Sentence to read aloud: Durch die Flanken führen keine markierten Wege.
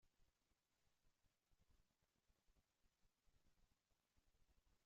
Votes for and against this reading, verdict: 0, 2, rejected